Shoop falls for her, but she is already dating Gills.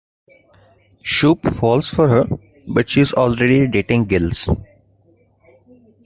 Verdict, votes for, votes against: rejected, 1, 2